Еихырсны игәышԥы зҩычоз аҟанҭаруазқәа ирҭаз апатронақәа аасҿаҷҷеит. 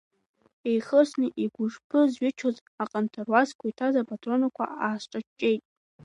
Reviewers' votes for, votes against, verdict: 0, 2, rejected